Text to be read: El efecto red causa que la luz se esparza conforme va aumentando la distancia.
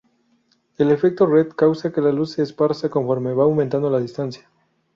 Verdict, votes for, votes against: accepted, 4, 0